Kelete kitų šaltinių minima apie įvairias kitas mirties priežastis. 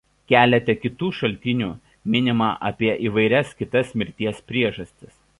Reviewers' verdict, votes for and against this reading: accepted, 2, 0